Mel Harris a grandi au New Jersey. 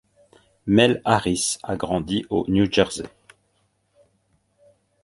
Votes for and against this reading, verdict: 2, 0, accepted